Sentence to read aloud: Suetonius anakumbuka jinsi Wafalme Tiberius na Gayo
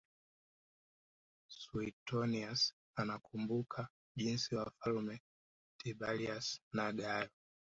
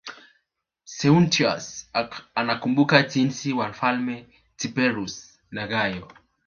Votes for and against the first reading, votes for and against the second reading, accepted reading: 2, 1, 0, 2, first